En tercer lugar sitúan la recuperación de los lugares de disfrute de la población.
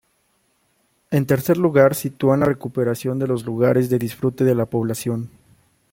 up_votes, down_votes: 2, 0